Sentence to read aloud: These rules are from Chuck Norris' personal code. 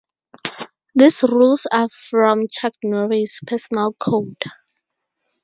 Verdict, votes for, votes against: accepted, 2, 0